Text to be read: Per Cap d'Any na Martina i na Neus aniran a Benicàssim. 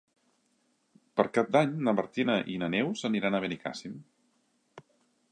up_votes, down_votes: 3, 0